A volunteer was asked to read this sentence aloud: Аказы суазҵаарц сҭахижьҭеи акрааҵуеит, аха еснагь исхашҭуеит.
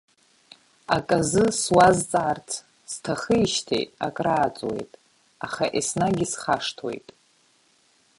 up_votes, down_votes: 2, 1